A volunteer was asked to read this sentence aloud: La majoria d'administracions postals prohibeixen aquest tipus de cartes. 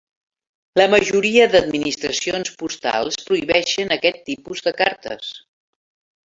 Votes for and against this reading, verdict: 3, 0, accepted